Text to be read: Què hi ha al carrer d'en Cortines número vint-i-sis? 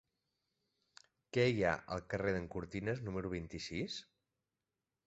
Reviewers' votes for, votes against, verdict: 5, 0, accepted